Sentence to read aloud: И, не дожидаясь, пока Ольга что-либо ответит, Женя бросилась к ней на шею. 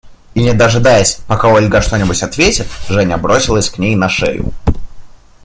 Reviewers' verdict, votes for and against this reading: rejected, 0, 2